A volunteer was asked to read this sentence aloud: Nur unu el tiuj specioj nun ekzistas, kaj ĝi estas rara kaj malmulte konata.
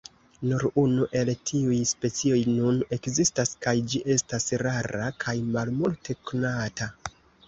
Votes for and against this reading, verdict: 1, 2, rejected